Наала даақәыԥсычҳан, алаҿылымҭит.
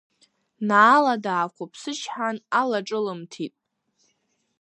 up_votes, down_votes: 2, 0